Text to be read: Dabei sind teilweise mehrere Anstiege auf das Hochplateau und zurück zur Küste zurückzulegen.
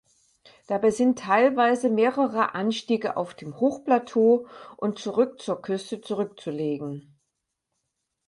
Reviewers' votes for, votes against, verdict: 0, 4, rejected